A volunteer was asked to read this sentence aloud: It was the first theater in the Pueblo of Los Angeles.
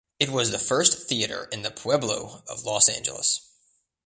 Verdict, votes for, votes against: accepted, 2, 0